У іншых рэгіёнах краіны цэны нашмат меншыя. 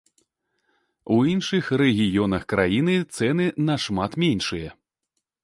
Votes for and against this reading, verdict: 2, 0, accepted